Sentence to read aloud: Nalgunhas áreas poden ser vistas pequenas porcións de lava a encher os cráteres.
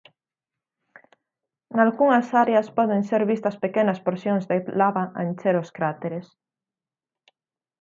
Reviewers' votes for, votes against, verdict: 0, 4, rejected